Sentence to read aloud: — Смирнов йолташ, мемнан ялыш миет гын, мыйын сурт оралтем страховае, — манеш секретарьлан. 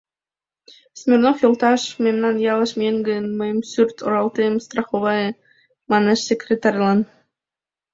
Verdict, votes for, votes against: accepted, 2, 0